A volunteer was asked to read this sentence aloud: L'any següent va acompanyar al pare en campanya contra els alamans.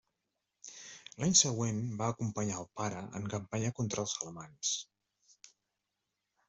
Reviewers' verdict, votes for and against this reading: accepted, 2, 0